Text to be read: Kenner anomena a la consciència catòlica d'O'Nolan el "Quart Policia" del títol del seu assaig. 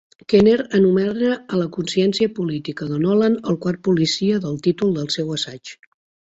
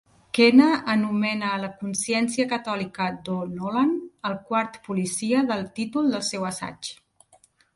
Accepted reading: second